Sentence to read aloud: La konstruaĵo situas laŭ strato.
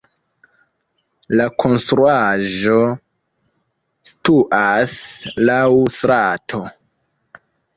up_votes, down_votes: 1, 2